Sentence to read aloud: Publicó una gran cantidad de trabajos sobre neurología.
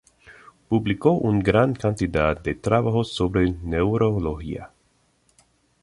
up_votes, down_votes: 0, 2